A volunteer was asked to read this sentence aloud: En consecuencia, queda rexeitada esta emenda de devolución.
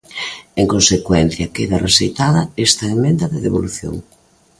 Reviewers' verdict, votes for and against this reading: accepted, 3, 2